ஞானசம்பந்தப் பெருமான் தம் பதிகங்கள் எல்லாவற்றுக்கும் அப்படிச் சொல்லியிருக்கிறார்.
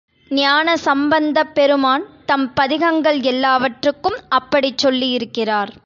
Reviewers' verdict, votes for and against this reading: accepted, 2, 0